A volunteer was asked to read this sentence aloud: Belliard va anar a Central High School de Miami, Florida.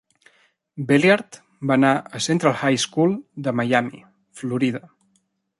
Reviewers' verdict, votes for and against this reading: accepted, 2, 0